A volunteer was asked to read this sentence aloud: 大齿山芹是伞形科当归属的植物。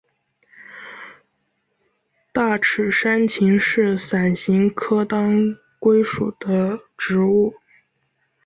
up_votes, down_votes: 4, 1